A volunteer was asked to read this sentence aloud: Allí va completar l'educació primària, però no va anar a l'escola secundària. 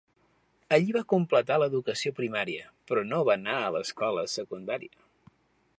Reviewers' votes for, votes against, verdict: 2, 0, accepted